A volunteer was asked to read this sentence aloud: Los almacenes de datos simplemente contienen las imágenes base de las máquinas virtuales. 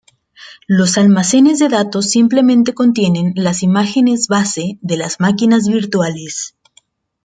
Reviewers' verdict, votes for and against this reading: accepted, 2, 0